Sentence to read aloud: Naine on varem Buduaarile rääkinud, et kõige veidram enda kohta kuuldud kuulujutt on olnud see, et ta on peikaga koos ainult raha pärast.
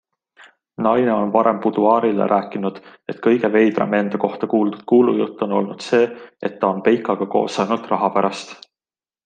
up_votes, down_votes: 2, 0